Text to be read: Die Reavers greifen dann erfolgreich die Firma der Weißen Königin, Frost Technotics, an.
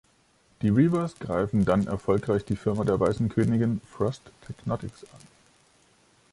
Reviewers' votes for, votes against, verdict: 3, 0, accepted